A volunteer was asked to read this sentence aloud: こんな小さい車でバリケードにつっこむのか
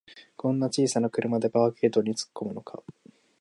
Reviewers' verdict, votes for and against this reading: rejected, 1, 2